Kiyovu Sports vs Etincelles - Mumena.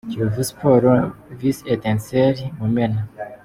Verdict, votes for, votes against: accepted, 3, 0